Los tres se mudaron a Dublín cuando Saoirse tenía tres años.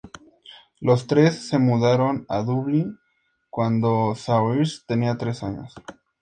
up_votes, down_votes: 2, 0